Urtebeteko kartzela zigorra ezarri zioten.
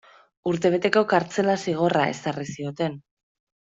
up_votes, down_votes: 2, 0